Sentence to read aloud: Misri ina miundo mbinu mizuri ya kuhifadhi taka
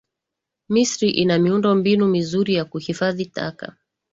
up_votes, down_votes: 2, 1